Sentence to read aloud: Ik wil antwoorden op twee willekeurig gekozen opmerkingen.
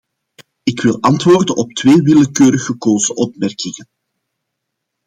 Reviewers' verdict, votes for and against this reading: accepted, 2, 0